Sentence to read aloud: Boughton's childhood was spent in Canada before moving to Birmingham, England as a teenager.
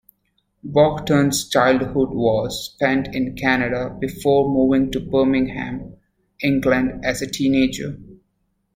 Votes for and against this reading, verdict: 2, 1, accepted